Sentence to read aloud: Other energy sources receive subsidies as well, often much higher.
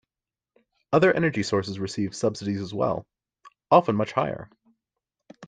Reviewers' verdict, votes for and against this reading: accepted, 2, 0